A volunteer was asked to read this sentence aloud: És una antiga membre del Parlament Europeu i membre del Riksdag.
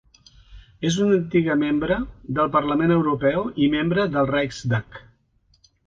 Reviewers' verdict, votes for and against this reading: accepted, 2, 1